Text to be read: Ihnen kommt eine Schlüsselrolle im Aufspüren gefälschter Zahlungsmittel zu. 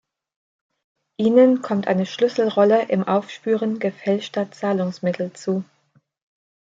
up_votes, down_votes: 2, 0